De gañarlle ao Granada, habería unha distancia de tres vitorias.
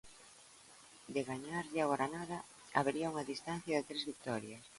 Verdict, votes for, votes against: accepted, 2, 0